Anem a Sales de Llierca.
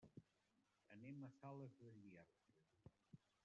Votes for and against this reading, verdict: 0, 2, rejected